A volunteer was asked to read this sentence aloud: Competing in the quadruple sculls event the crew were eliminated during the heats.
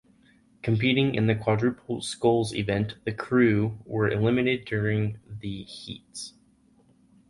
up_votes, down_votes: 0, 4